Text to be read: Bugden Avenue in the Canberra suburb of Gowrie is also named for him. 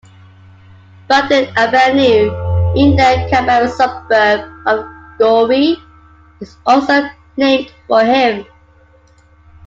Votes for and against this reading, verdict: 2, 0, accepted